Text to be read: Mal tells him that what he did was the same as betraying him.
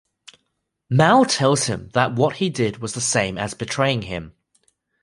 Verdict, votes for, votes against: accepted, 2, 0